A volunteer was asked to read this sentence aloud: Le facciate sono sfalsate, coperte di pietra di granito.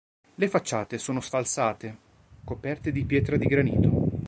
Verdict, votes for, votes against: accepted, 2, 0